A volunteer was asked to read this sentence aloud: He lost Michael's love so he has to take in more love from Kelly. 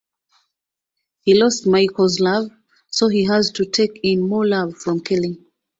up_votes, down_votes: 2, 0